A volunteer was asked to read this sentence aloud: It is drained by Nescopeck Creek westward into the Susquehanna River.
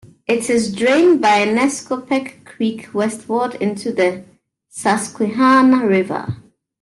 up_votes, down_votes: 1, 2